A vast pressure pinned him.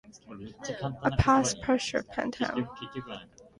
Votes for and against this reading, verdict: 0, 2, rejected